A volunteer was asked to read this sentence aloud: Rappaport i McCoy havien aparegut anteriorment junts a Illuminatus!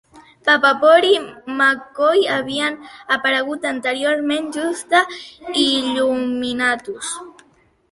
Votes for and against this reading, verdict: 0, 2, rejected